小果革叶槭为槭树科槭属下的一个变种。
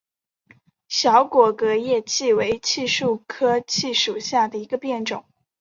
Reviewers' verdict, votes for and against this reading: accepted, 2, 0